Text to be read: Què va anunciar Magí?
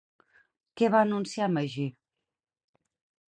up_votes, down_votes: 6, 0